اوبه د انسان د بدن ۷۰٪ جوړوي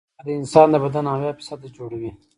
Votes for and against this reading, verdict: 0, 2, rejected